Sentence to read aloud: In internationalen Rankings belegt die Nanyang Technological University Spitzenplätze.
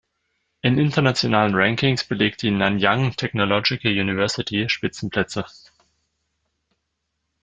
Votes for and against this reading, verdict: 2, 1, accepted